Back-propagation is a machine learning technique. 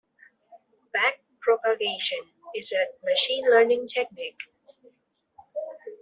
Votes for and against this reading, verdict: 2, 0, accepted